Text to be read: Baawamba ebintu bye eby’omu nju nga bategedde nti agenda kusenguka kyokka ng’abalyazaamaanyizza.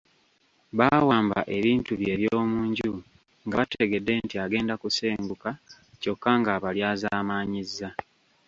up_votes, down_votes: 2, 0